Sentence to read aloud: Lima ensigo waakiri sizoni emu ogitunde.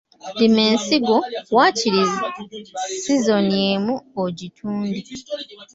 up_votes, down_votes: 0, 2